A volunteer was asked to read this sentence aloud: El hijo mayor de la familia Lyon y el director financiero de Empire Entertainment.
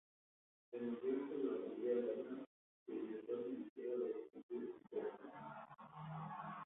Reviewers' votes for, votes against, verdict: 0, 2, rejected